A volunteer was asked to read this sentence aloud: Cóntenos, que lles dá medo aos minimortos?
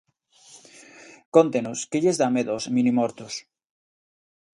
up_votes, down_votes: 2, 0